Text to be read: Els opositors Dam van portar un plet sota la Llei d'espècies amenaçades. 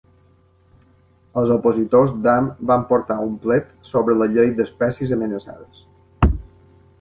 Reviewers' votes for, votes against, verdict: 0, 2, rejected